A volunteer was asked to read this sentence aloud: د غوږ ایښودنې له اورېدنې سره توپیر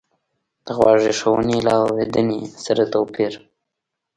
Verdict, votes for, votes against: rejected, 1, 2